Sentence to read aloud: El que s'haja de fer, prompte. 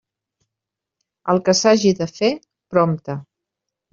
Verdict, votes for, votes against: accepted, 2, 1